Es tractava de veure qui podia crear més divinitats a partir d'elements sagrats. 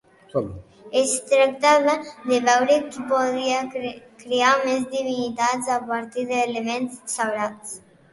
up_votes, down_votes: 0, 3